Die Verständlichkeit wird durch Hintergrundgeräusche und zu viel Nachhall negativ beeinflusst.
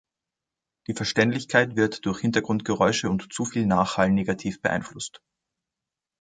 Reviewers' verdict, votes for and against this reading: accepted, 2, 1